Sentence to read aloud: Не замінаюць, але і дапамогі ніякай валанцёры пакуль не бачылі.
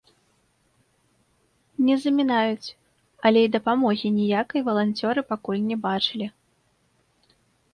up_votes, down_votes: 2, 1